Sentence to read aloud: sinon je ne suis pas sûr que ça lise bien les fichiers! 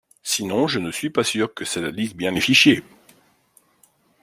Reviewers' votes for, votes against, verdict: 0, 2, rejected